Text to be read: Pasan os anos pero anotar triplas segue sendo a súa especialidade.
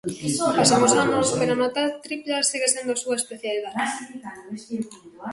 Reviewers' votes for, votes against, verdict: 0, 2, rejected